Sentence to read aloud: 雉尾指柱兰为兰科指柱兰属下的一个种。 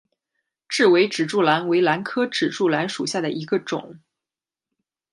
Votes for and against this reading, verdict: 2, 0, accepted